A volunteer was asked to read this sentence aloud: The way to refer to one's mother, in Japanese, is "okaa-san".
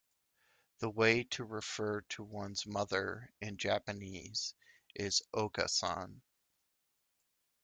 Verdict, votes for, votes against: accepted, 3, 0